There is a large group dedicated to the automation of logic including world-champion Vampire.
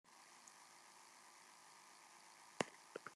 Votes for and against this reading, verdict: 0, 2, rejected